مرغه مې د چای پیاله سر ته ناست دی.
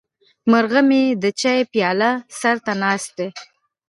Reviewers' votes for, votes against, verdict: 0, 2, rejected